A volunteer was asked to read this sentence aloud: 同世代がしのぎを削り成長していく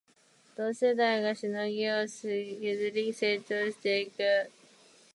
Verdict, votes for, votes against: rejected, 2, 3